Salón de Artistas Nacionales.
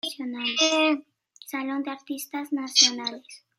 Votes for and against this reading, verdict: 2, 1, accepted